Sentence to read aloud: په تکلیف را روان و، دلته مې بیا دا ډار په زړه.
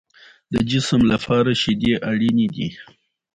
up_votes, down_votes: 2, 0